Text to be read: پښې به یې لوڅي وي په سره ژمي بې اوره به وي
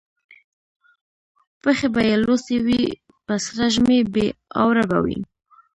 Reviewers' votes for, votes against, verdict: 1, 2, rejected